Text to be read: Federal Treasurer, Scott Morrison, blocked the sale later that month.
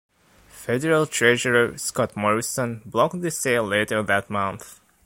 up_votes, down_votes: 2, 0